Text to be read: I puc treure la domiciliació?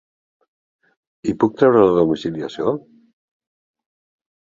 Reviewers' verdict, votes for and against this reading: rejected, 0, 5